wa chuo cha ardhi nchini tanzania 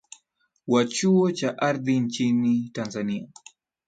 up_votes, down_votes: 2, 0